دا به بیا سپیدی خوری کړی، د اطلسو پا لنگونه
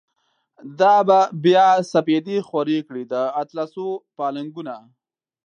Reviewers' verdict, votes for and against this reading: accepted, 2, 0